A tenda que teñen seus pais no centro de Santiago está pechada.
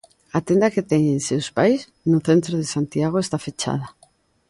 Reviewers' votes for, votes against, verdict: 0, 2, rejected